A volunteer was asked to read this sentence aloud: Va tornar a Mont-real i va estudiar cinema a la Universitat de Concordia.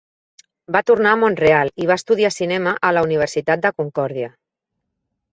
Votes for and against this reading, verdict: 3, 0, accepted